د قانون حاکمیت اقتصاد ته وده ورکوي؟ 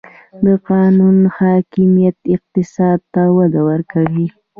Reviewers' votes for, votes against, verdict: 2, 0, accepted